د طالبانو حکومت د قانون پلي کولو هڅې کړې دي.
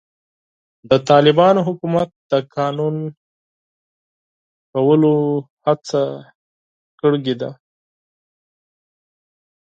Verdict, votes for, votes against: rejected, 0, 4